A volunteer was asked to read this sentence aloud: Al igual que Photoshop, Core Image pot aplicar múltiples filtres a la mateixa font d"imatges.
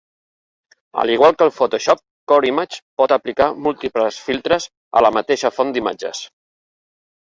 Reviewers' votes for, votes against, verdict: 1, 2, rejected